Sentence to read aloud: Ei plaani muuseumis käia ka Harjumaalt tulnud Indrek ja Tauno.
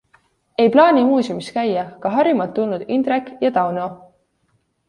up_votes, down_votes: 2, 0